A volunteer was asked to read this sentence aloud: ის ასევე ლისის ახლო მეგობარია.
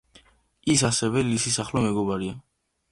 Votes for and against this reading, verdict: 0, 2, rejected